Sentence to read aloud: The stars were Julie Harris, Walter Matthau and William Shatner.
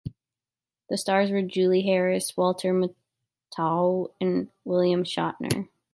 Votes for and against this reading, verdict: 1, 2, rejected